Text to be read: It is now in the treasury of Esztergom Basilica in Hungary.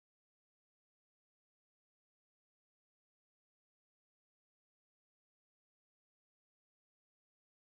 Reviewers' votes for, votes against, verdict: 0, 2, rejected